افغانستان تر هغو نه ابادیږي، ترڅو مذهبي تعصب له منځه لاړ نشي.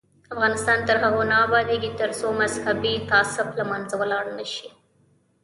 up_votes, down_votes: 0, 2